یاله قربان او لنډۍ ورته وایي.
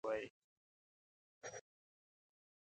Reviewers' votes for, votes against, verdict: 1, 2, rejected